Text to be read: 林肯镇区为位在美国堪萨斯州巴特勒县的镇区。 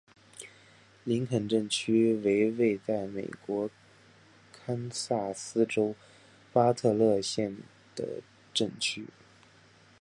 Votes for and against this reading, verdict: 3, 0, accepted